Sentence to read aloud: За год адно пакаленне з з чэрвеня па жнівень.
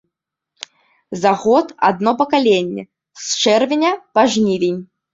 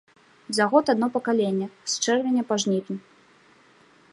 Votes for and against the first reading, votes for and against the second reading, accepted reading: 1, 2, 2, 0, second